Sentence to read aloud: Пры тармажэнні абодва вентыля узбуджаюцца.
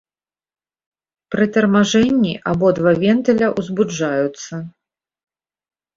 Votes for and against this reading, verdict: 4, 0, accepted